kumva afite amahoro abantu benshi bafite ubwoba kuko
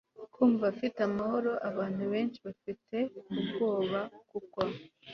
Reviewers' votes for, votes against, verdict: 2, 0, accepted